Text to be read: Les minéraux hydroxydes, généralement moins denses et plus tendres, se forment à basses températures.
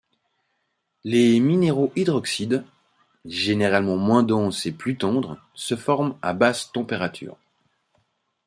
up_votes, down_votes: 2, 0